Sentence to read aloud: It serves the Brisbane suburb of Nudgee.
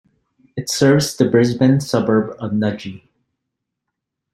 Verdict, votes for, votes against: accepted, 2, 0